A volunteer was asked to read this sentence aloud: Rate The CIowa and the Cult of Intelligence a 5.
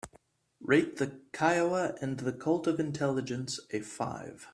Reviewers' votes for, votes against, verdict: 0, 2, rejected